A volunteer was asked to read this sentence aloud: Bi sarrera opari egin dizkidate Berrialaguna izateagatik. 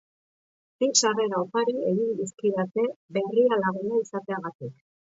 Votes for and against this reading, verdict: 0, 2, rejected